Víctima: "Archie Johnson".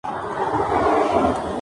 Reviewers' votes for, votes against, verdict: 0, 2, rejected